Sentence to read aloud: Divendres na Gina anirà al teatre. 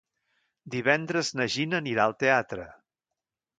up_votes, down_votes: 2, 0